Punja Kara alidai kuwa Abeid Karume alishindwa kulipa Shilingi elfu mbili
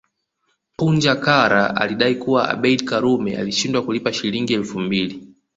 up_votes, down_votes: 2, 0